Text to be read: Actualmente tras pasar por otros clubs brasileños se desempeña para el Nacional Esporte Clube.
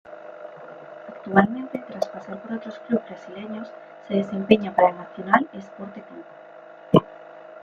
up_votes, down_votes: 0, 2